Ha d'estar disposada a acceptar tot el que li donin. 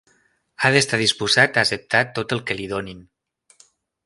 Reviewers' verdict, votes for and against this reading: rejected, 0, 2